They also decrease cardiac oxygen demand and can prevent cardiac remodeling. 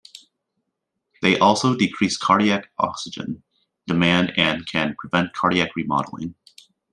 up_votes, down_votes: 2, 0